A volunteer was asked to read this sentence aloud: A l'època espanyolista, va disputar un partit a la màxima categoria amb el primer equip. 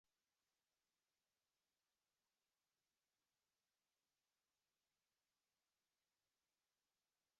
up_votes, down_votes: 0, 2